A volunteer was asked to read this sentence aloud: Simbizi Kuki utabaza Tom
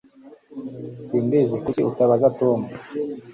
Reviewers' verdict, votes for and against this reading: accepted, 2, 0